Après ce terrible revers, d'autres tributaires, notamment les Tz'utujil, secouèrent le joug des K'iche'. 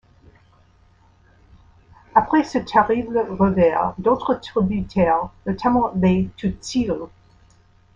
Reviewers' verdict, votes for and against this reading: rejected, 0, 2